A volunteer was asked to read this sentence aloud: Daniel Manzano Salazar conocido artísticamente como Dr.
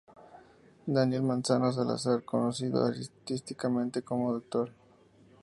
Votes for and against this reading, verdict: 2, 0, accepted